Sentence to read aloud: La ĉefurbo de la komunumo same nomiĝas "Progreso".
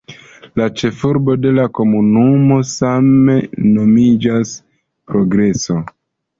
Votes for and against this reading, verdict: 1, 2, rejected